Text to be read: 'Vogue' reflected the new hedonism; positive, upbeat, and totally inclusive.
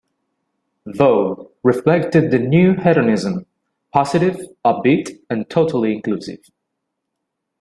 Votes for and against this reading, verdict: 2, 0, accepted